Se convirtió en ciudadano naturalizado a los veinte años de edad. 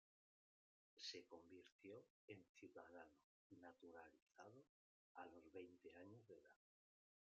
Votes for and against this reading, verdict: 0, 2, rejected